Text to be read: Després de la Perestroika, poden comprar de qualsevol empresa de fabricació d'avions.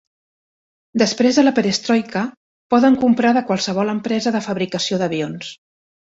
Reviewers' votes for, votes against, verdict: 3, 0, accepted